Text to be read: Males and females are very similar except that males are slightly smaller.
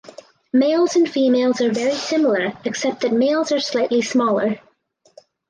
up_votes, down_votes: 4, 0